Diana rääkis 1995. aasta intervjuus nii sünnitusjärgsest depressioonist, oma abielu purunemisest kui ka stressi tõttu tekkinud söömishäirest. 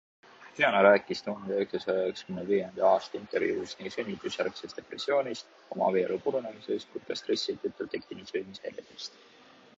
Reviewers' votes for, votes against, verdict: 0, 2, rejected